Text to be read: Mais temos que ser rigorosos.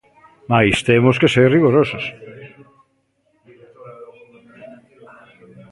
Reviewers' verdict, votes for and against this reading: rejected, 1, 2